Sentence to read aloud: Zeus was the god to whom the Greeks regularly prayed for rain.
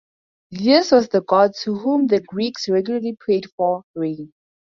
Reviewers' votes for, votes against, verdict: 2, 2, rejected